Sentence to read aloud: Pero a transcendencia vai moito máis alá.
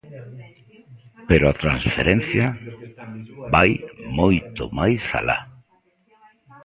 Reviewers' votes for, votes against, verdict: 0, 2, rejected